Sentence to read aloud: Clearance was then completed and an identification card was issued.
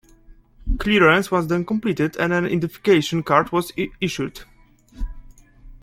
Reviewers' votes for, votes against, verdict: 1, 2, rejected